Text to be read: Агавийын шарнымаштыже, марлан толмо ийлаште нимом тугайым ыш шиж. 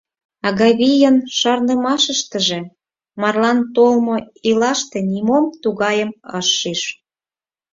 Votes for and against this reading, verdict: 2, 4, rejected